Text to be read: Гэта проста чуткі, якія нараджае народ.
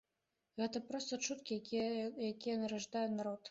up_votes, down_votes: 1, 2